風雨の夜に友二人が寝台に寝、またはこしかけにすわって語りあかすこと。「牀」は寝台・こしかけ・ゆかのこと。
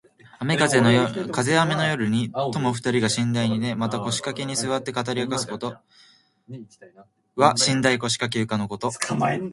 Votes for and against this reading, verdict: 2, 0, accepted